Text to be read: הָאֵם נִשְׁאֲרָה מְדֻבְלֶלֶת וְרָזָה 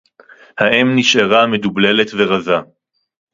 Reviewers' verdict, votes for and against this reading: rejected, 2, 2